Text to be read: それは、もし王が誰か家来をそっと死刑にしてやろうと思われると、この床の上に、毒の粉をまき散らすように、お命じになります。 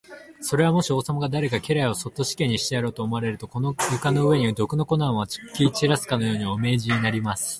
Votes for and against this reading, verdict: 0, 2, rejected